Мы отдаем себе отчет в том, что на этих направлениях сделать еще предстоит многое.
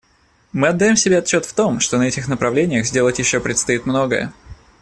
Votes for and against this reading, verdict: 2, 0, accepted